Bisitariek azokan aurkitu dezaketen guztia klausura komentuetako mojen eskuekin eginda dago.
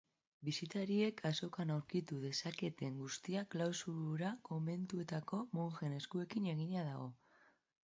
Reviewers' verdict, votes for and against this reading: rejected, 0, 2